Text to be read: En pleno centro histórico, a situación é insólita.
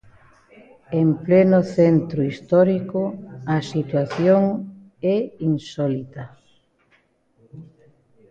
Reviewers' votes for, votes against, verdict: 2, 0, accepted